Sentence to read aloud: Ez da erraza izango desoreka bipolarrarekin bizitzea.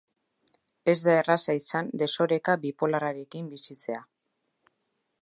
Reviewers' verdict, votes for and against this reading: rejected, 2, 3